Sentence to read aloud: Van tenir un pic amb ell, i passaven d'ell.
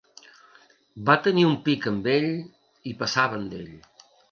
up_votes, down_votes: 1, 2